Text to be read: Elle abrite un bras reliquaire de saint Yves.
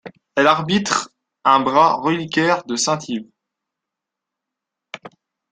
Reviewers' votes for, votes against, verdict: 0, 2, rejected